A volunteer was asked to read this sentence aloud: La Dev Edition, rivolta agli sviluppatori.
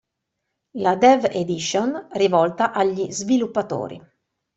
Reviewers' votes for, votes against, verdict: 2, 0, accepted